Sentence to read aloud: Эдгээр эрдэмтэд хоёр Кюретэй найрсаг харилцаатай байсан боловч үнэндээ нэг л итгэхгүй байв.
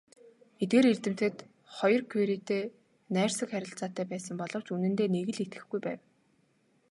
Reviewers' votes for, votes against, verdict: 3, 1, accepted